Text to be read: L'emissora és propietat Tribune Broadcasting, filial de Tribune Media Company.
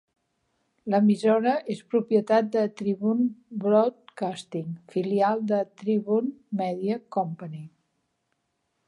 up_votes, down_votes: 2, 1